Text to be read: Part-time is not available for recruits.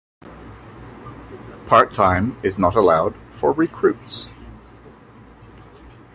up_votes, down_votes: 1, 2